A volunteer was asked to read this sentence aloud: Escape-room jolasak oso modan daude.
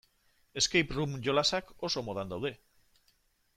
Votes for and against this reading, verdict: 2, 0, accepted